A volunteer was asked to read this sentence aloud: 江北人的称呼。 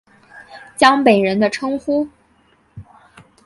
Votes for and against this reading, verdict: 2, 0, accepted